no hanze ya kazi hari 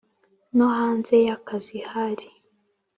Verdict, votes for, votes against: accepted, 2, 0